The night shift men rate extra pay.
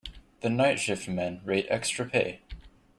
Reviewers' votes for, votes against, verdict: 2, 0, accepted